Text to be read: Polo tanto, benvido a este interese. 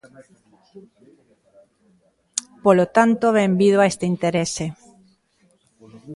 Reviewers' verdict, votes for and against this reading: accepted, 2, 0